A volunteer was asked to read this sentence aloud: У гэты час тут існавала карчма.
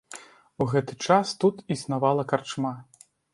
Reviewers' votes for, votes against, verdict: 2, 0, accepted